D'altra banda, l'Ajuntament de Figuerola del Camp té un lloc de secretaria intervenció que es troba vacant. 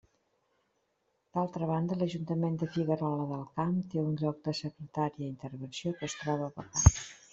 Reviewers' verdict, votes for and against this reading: rejected, 1, 2